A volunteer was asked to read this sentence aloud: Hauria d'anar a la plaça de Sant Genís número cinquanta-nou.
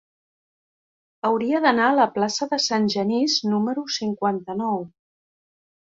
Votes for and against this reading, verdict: 4, 0, accepted